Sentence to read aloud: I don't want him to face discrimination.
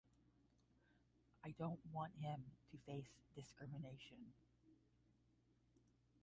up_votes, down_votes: 5, 10